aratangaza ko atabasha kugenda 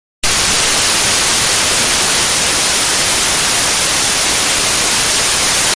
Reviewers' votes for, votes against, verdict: 0, 2, rejected